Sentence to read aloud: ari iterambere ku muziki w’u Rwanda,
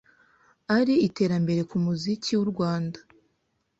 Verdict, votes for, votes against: accepted, 2, 0